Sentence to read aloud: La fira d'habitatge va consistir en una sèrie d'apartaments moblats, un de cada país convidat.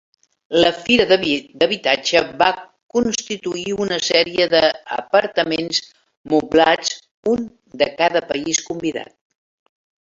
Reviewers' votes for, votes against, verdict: 0, 2, rejected